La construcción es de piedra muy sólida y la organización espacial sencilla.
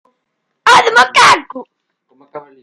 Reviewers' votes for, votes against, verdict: 0, 2, rejected